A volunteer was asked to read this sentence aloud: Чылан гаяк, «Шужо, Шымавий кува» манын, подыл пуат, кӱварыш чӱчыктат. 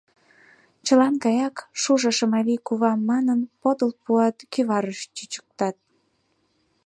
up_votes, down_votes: 2, 0